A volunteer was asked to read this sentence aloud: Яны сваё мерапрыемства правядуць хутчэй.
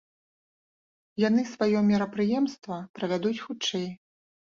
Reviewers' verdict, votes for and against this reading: accepted, 2, 0